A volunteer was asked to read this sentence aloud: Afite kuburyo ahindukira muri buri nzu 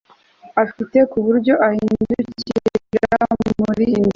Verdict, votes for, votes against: rejected, 0, 2